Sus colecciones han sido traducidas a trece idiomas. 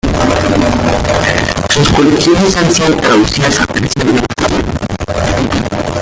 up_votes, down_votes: 0, 2